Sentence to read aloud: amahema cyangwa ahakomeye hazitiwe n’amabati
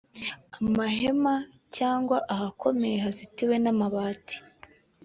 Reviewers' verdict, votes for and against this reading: accepted, 2, 0